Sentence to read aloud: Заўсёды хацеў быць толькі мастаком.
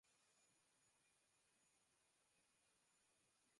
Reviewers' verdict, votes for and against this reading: rejected, 0, 2